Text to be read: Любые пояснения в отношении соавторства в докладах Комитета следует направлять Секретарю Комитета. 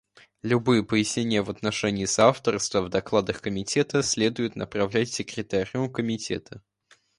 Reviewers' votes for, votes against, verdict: 2, 0, accepted